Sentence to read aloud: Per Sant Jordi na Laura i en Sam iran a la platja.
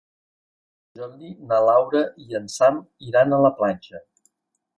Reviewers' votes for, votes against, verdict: 0, 2, rejected